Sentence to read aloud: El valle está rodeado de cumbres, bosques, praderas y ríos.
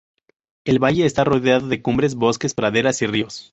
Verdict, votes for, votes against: accepted, 2, 0